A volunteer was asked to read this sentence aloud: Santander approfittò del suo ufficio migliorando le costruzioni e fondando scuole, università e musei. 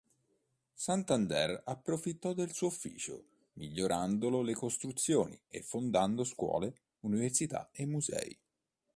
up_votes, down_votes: 0, 2